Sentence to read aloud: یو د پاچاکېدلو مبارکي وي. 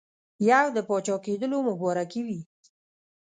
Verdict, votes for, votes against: accepted, 2, 0